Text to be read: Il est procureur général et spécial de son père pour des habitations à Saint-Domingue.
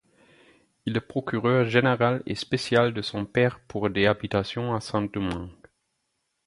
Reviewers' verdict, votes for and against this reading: accepted, 4, 2